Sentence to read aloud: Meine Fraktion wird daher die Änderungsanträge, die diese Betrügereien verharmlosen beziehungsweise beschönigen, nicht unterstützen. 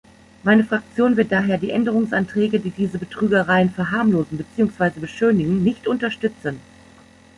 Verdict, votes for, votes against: accepted, 2, 0